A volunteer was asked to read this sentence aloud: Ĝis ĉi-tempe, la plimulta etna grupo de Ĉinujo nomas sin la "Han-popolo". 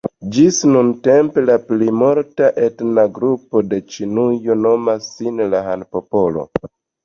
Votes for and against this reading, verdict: 2, 0, accepted